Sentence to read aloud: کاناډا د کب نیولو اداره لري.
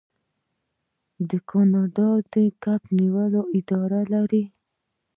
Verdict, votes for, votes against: rejected, 0, 2